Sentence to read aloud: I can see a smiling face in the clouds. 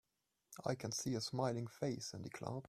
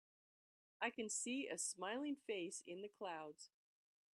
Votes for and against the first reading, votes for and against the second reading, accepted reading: 1, 2, 2, 0, second